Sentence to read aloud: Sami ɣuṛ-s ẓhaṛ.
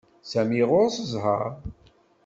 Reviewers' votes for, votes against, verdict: 2, 0, accepted